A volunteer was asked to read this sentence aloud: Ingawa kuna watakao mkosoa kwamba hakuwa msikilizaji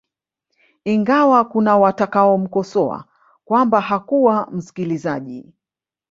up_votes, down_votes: 3, 1